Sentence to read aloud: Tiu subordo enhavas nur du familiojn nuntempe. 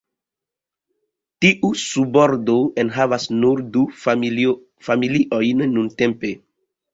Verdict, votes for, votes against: rejected, 0, 2